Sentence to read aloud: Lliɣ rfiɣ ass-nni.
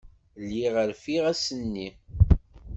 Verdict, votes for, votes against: accepted, 2, 0